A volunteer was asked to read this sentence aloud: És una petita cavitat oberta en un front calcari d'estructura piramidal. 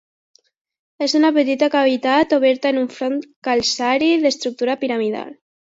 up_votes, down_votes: 2, 0